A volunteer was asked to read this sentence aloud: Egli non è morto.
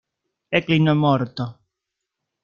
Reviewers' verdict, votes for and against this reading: rejected, 0, 2